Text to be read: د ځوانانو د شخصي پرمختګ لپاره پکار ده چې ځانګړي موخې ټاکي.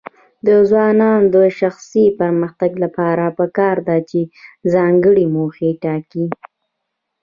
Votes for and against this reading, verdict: 2, 0, accepted